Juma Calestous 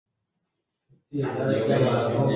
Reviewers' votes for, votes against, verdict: 0, 2, rejected